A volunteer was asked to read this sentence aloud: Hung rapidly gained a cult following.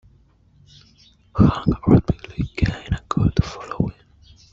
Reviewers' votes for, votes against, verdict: 0, 2, rejected